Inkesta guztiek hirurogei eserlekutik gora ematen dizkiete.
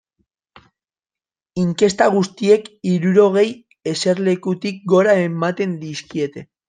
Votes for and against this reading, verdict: 3, 1, accepted